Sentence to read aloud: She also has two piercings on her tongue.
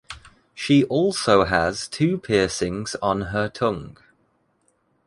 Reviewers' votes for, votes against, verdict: 2, 0, accepted